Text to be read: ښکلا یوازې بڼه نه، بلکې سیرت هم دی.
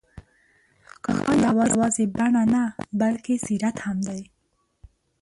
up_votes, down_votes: 0, 2